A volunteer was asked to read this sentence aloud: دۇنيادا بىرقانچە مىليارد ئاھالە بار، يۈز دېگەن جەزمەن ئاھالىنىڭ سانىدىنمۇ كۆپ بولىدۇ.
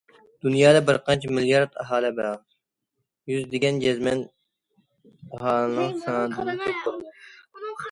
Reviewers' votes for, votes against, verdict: 0, 2, rejected